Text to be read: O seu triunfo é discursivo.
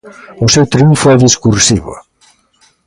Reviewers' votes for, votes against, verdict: 2, 0, accepted